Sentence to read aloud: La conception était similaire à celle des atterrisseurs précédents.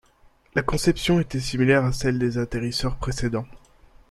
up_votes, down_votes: 2, 0